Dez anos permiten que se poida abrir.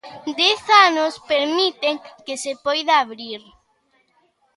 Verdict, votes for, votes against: accepted, 2, 0